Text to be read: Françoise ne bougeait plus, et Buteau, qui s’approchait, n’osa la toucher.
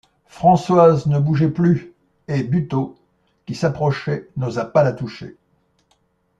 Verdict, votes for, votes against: rejected, 0, 2